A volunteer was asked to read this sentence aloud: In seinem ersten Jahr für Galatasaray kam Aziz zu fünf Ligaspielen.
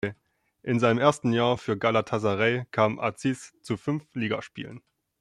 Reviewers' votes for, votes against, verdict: 1, 2, rejected